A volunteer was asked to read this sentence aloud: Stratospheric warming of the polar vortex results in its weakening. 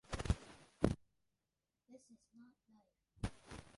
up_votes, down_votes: 0, 2